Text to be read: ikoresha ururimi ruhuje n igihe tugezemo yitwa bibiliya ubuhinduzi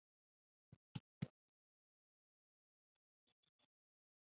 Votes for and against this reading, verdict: 0, 2, rejected